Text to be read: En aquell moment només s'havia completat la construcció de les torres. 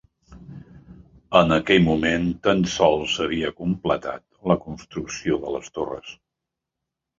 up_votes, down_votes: 0, 2